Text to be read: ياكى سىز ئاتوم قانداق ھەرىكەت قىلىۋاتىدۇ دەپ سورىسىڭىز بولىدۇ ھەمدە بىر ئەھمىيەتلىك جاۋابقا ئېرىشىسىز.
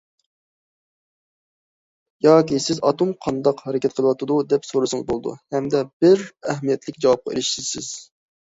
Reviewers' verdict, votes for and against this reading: accepted, 2, 0